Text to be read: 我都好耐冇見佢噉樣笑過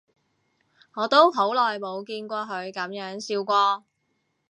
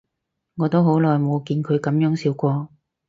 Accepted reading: second